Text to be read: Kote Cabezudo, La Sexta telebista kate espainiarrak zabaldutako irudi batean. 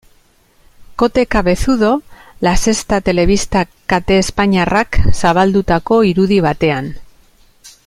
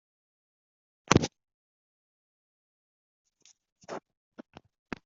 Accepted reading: first